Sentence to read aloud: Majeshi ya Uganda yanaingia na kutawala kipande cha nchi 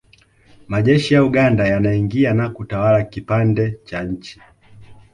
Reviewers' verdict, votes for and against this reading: accepted, 2, 0